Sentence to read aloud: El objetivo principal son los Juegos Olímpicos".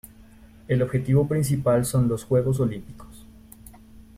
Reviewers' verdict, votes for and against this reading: accepted, 2, 0